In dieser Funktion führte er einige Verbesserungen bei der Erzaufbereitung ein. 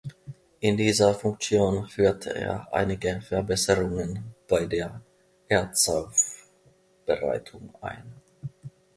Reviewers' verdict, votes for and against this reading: rejected, 1, 2